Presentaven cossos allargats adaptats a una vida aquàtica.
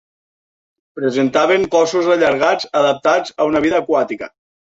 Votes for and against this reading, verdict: 2, 0, accepted